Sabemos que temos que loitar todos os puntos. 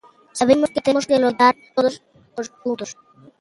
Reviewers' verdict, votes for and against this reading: rejected, 0, 2